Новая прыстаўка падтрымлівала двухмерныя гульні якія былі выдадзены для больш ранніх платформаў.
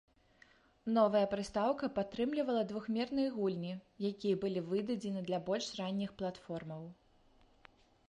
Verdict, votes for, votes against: accepted, 2, 0